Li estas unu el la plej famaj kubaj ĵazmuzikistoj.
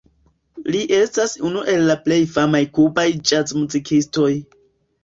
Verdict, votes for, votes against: accepted, 2, 0